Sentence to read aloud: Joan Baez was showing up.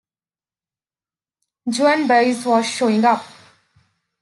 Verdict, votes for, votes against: rejected, 0, 2